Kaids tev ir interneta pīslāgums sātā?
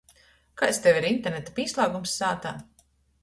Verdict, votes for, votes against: accepted, 2, 0